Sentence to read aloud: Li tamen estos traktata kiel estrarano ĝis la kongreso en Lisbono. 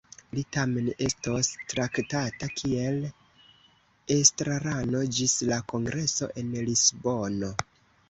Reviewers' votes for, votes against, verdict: 2, 1, accepted